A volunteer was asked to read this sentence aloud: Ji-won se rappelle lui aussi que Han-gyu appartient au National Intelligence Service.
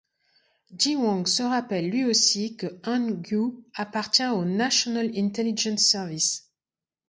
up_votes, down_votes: 2, 0